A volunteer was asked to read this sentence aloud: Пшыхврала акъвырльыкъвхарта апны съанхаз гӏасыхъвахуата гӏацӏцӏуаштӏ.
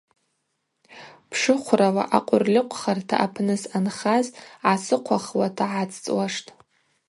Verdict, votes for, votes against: accepted, 2, 0